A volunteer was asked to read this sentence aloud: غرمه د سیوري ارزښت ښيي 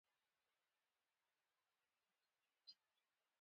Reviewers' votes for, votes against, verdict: 0, 2, rejected